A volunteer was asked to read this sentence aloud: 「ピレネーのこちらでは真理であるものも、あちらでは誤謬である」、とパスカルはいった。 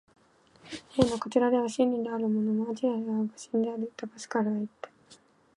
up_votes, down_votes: 3, 2